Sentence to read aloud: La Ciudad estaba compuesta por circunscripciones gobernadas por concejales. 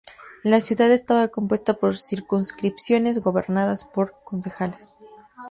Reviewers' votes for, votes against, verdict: 2, 0, accepted